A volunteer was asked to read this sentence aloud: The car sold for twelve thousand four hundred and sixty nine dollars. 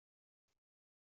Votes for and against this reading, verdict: 0, 2, rejected